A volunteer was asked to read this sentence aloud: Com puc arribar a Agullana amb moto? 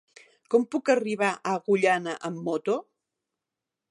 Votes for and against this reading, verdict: 4, 0, accepted